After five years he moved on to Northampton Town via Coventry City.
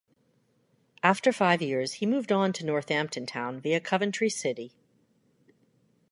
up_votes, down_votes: 2, 0